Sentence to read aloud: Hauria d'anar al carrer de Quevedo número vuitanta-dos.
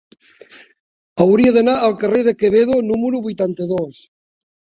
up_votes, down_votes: 3, 1